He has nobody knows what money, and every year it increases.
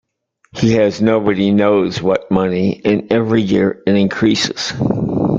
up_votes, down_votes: 1, 2